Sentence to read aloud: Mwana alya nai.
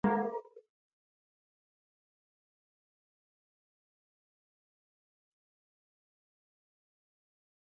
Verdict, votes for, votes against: rejected, 1, 3